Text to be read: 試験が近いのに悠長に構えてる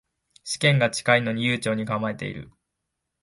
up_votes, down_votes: 3, 0